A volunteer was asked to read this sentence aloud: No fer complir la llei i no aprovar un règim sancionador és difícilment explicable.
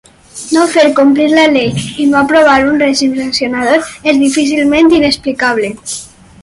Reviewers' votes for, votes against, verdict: 2, 4, rejected